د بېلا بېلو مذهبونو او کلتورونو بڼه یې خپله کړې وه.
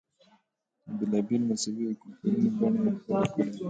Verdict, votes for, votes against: accepted, 2, 1